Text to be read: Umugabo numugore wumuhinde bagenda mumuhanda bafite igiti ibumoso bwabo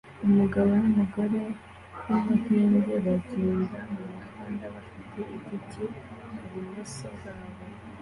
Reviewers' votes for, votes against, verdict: 2, 1, accepted